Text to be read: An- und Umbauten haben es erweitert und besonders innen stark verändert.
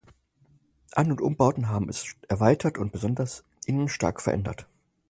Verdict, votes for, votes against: rejected, 2, 2